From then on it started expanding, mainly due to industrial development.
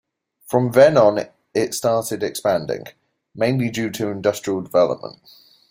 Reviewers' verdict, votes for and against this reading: accepted, 2, 0